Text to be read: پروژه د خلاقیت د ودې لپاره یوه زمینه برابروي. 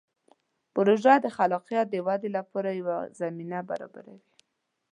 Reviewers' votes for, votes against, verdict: 2, 0, accepted